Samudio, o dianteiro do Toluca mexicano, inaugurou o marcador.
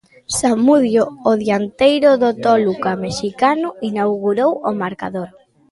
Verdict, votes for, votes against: accepted, 2, 1